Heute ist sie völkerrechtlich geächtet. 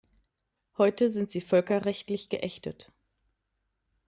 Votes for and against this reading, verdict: 0, 2, rejected